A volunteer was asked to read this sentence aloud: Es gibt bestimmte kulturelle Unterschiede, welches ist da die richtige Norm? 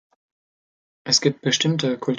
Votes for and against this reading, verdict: 0, 2, rejected